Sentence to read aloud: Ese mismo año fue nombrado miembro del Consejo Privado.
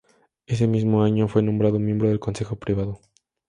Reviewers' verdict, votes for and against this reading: accepted, 2, 0